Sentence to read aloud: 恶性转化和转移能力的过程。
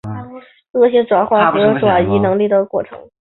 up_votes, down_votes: 3, 0